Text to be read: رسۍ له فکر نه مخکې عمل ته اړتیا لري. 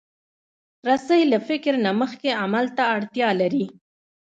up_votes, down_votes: 1, 2